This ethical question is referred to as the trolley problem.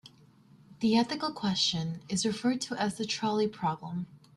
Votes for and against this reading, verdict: 0, 2, rejected